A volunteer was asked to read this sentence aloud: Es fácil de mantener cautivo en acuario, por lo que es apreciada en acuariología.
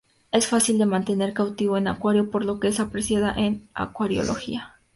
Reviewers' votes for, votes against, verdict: 2, 0, accepted